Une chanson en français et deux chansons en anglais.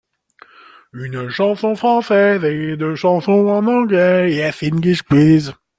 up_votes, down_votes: 0, 2